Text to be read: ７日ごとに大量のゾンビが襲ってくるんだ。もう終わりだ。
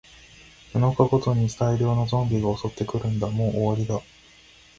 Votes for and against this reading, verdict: 0, 2, rejected